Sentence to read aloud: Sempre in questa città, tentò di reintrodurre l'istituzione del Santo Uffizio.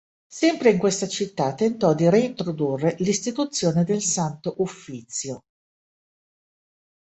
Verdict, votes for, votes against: accepted, 2, 0